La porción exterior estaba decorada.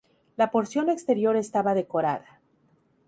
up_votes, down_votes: 2, 0